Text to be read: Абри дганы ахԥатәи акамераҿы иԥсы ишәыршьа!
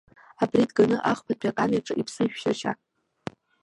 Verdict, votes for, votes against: rejected, 1, 2